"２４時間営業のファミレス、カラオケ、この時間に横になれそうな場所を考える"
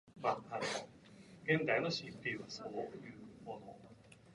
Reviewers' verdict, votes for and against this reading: rejected, 0, 2